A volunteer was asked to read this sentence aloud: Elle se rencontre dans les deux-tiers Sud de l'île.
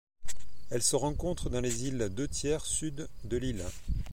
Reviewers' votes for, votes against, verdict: 0, 2, rejected